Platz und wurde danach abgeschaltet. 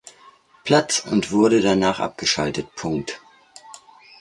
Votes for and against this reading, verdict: 1, 2, rejected